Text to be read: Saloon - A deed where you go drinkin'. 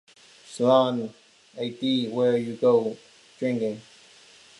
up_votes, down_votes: 2, 1